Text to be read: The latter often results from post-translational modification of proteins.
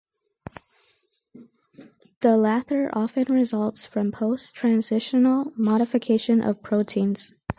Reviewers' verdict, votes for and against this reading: accepted, 4, 2